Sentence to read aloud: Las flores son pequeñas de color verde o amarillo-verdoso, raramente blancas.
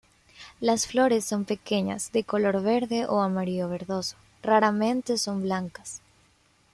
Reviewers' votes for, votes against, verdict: 1, 2, rejected